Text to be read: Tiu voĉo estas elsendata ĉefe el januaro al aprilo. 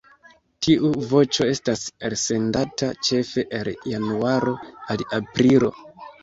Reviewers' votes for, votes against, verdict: 1, 2, rejected